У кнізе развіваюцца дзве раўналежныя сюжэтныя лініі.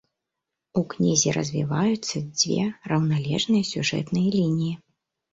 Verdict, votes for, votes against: accepted, 2, 0